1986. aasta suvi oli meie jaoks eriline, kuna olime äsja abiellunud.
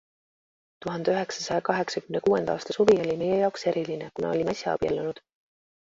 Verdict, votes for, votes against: rejected, 0, 2